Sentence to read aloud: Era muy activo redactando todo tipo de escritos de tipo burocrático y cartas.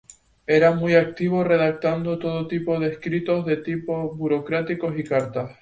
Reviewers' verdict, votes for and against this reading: accepted, 2, 0